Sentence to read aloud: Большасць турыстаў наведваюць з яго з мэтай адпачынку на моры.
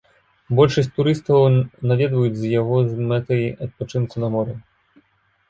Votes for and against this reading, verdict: 1, 2, rejected